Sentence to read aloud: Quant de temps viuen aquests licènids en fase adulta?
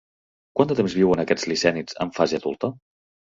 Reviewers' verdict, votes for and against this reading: rejected, 1, 2